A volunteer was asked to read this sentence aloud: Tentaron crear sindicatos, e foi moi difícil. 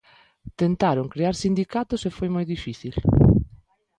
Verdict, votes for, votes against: accepted, 2, 0